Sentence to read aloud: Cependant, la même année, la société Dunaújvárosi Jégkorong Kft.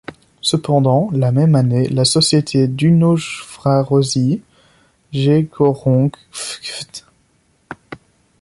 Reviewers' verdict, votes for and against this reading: rejected, 0, 2